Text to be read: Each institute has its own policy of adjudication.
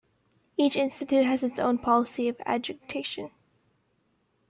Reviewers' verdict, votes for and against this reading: rejected, 1, 2